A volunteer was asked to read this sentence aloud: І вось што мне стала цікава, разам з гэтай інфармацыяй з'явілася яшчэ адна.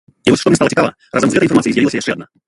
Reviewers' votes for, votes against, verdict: 0, 2, rejected